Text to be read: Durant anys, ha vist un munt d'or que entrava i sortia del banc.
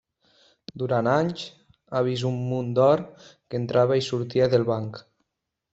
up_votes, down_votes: 3, 1